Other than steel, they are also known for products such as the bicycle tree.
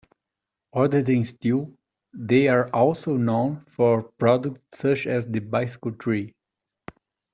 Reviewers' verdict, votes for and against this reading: accepted, 2, 0